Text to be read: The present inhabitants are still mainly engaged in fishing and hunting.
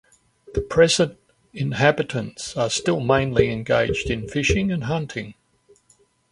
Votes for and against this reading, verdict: 2, 0, accepted